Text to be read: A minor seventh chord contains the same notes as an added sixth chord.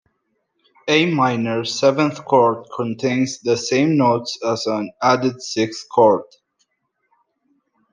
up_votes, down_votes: 2, 0